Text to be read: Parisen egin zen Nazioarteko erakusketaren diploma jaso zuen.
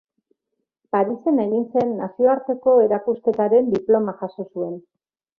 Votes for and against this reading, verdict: 3, 0, accepted